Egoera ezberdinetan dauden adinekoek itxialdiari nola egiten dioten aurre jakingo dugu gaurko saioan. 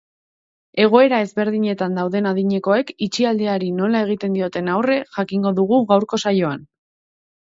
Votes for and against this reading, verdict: 3, 0, accepted